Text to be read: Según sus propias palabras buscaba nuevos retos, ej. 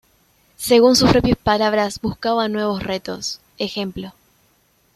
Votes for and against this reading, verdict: 1, 2, rejected